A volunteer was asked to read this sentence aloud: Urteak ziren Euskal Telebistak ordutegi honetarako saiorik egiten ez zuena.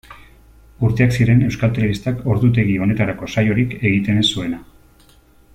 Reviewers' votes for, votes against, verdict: 2, 0, accepted